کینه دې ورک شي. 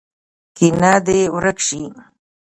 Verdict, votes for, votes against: rejected, 1, 2